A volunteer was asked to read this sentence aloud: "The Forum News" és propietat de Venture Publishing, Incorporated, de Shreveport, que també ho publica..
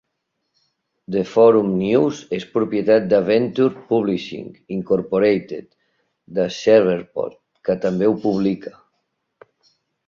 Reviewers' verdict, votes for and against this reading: accepted, 2, 0